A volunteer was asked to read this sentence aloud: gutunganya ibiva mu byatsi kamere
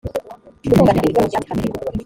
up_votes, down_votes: 1, 3